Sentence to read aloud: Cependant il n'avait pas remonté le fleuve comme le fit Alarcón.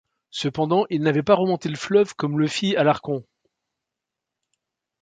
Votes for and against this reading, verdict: 1, 2, rejected